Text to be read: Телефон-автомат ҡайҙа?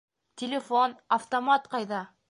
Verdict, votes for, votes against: rejected, 0, 2